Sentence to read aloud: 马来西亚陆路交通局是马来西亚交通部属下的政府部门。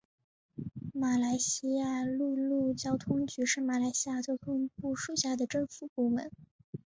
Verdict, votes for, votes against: accepted, 5, 1